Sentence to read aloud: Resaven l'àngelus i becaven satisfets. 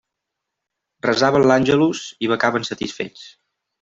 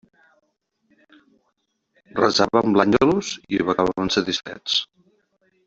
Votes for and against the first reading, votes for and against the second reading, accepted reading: 2, 0, 0, 2, first